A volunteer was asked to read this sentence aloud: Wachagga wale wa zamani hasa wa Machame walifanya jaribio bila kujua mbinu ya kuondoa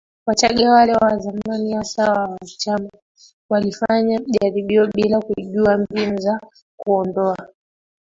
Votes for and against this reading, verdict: 0, 2, rejected